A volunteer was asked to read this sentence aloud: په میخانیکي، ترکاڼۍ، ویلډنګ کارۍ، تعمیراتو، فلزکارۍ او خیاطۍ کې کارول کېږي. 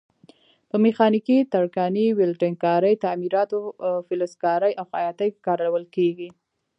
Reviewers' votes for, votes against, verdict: 2, 0, accepted